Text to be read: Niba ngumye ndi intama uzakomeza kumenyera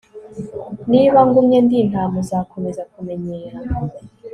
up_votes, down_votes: 3, 0